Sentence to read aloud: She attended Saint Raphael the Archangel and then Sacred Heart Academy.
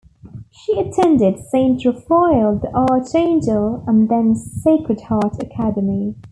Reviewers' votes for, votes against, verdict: 2, 0, accepted